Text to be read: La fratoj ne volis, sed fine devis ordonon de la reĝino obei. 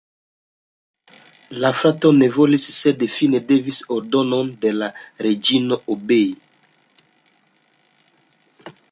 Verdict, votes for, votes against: rejected, 1, 2